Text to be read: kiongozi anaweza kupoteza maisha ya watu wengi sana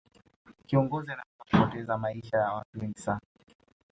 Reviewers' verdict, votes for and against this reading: accepted, 2, 0